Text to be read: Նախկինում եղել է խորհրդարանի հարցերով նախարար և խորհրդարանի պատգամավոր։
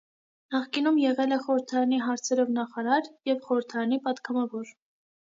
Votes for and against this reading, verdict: 2, 0, accepted